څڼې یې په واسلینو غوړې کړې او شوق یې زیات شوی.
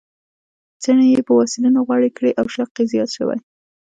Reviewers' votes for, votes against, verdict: 1, 2, rejected